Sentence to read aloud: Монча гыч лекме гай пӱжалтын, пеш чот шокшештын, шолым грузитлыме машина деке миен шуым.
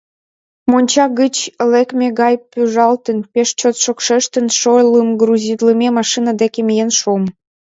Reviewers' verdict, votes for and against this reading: accepted, 2, 1